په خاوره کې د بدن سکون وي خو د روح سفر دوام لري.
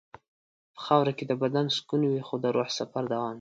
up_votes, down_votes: 0, 2